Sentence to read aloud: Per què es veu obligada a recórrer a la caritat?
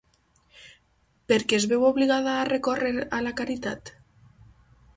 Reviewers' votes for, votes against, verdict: 4, 0, accepted